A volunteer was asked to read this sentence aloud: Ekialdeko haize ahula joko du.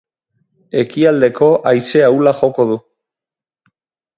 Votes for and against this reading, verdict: 4, 0, accepted